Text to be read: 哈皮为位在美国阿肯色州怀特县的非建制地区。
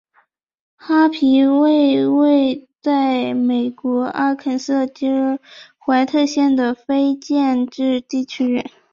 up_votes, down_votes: 2, 1